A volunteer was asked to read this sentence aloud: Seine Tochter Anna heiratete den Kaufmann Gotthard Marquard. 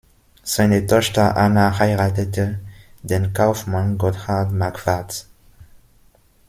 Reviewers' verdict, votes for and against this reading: rejected, 1, 2